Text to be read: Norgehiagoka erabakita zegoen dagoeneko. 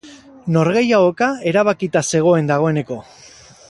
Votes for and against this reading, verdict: 0, 4, rejected